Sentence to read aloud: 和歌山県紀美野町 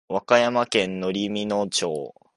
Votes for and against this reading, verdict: 1, 2, rejected